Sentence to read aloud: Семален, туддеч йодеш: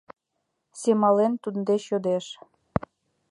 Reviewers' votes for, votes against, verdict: 2, 0, accepted